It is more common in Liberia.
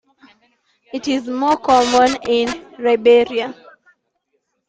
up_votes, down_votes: 1, 2